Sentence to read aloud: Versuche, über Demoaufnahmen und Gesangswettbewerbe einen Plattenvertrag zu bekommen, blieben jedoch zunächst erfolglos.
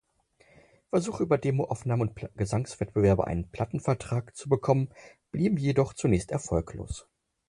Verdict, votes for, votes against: accepted, 4, 0